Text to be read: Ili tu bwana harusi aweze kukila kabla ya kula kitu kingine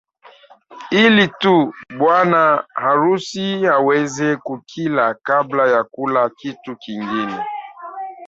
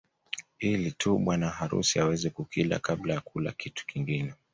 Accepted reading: second